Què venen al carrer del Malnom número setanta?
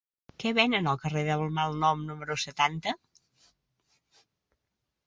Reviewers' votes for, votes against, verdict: 0, 2, rejected